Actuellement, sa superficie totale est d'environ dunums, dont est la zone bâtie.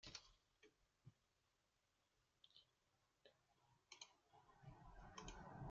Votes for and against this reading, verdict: 0, 2, rejected